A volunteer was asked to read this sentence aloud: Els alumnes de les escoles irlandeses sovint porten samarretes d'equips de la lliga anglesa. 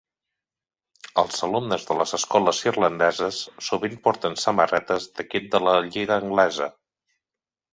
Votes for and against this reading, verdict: 1, 2, rejected